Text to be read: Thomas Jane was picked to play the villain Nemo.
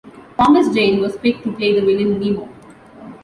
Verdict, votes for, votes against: accepted, 2, 1